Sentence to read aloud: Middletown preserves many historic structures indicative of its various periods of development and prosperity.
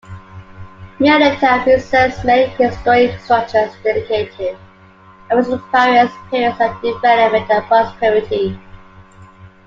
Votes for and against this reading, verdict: 2, 1, accepted